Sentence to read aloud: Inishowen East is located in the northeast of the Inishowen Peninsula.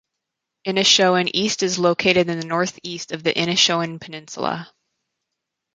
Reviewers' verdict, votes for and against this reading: accepted, 4, 0